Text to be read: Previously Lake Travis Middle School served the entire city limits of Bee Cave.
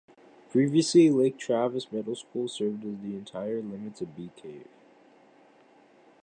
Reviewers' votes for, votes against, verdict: 1, 2, rejected